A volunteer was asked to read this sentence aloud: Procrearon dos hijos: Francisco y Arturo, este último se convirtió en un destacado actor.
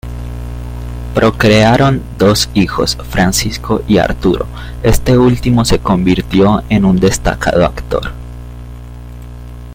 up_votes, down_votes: 2, 0